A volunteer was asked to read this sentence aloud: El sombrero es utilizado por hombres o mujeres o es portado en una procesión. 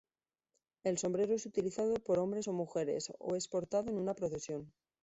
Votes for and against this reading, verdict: 2, 1, accepted